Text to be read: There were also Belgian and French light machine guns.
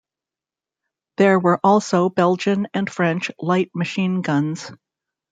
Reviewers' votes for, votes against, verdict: 2, 0, accepted